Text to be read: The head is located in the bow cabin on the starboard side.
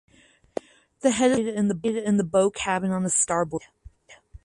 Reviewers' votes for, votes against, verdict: 0, 4, rejected